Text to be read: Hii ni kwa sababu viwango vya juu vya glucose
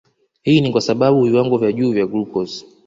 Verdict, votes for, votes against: accepted, 2, 0